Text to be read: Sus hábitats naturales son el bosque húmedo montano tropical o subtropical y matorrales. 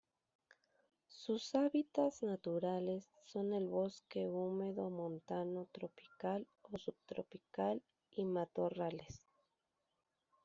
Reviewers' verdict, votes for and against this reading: rejected, 1, 2